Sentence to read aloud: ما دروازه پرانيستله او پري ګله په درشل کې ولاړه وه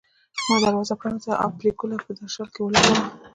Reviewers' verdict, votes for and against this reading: rejected, 0, 2